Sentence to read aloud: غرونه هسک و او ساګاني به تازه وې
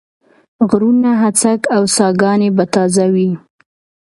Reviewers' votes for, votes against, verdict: 2, 1, accepted